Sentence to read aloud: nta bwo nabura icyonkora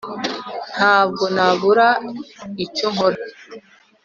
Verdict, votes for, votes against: accepted, 2, 0